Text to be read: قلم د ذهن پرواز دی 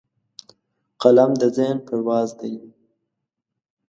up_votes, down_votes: 2, 0